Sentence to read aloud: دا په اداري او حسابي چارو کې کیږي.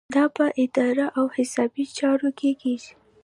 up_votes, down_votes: 1, 2